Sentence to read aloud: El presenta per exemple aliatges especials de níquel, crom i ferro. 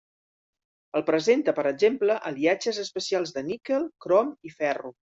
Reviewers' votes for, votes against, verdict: 3, 0, accepted